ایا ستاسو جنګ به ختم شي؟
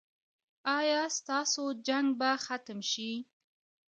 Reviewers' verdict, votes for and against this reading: rejected, 0, 2